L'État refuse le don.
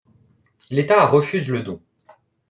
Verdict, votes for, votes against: accepted, 2, 0